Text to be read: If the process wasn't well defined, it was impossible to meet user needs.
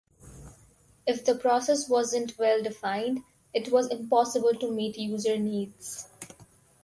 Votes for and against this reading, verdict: 4, 0, accepted